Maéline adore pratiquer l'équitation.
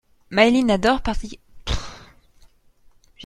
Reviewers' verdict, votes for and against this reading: rejected, 0, 2